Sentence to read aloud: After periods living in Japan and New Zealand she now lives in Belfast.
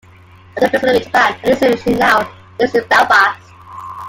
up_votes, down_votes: 1, 2